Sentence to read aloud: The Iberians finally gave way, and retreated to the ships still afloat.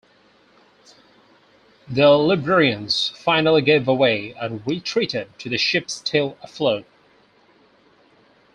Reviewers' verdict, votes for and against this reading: rejected, 0, 2